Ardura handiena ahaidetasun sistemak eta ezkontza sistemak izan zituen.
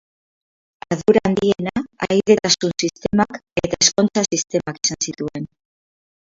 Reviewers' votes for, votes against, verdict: 0, 4, rejected